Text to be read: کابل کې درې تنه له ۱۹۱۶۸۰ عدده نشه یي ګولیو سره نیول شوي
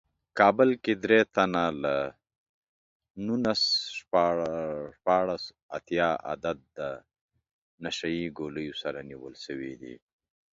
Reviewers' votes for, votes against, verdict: 0, 2, rejected